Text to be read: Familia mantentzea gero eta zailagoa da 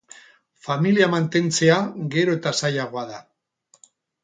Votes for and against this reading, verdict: 4, 0, accepted